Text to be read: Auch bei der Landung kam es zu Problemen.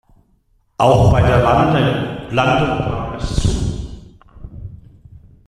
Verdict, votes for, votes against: rejected, 0, 2